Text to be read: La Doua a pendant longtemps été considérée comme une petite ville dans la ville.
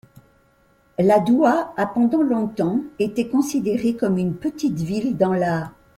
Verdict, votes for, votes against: rejected, 0, 2